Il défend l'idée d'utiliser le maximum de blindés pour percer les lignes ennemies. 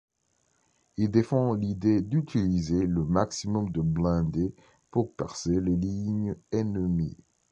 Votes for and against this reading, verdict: 1, 2, rejected